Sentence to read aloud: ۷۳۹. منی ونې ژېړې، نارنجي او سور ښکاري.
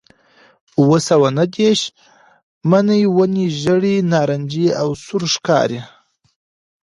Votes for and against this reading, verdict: 0, 2, rejected